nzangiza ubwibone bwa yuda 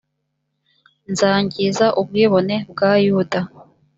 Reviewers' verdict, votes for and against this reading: accepted, 2, 0